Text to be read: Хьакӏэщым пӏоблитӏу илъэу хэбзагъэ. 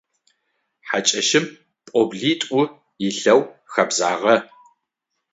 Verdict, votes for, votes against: rejected, 3, 6